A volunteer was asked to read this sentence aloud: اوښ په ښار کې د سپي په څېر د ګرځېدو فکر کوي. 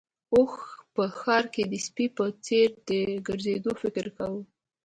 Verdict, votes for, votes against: accepted, 2, 0